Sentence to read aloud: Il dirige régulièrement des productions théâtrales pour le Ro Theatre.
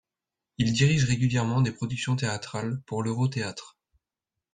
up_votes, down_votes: 2, 0